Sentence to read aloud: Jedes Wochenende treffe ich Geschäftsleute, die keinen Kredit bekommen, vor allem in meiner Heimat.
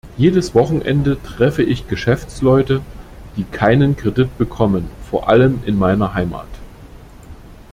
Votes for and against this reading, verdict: 2, 0, accepted